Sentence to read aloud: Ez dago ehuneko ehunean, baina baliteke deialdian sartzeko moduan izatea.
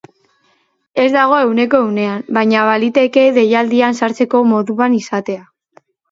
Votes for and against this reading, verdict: 7, 0, accepted